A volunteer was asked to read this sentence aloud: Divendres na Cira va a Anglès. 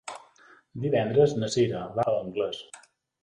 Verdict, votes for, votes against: accepted, 2, 0